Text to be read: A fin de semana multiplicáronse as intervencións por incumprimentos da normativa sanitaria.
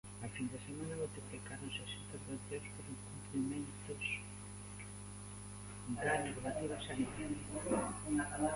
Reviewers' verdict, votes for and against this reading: rejected, 0, 2